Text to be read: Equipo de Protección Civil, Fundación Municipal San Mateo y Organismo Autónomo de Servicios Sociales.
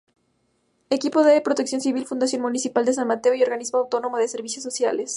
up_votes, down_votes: 0, 2